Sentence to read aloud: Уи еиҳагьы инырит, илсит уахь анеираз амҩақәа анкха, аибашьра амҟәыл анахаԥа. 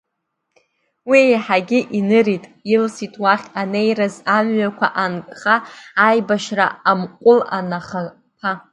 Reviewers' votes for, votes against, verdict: 2, 0, accepted